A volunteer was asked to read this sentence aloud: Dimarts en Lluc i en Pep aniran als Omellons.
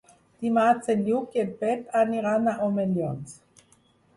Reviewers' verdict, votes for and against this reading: rejected, 2, 4